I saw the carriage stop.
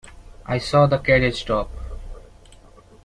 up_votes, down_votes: 2, 0